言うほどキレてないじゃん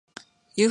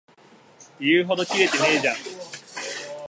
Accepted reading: second